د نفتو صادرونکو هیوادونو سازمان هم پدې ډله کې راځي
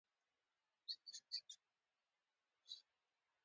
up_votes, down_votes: 0, 2